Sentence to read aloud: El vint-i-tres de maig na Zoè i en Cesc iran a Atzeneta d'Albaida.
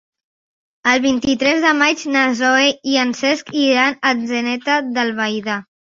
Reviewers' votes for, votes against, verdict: 3, 0, accepted